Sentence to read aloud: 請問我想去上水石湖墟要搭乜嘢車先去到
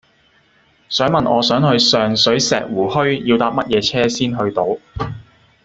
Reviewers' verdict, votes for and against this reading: rejected, 0, 2